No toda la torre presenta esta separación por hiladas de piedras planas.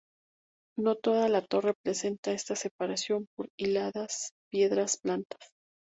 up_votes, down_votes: 2, 0